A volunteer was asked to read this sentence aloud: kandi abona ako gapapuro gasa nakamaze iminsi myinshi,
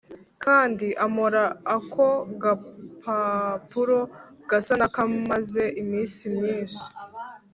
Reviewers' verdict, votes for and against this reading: rejected, 2, 3